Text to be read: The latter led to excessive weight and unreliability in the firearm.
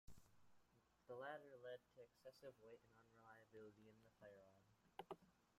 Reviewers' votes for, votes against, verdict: 0, 2, rejected